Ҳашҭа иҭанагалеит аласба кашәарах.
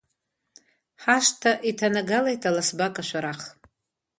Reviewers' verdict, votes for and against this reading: accepted, 2, 0